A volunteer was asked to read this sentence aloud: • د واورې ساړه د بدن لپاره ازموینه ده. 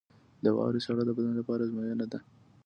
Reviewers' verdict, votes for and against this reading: accepted, 2, 0